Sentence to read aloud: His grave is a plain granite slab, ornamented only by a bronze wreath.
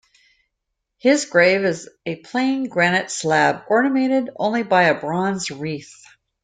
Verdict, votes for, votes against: rejected, 0, 2